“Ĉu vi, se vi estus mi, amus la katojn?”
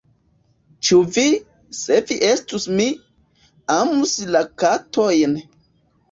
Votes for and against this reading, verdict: 2, 1, accepted